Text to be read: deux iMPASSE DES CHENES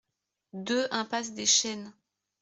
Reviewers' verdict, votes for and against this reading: accepted, 2, 0